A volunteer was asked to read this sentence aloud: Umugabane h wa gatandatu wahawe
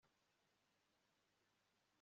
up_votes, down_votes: 1, 2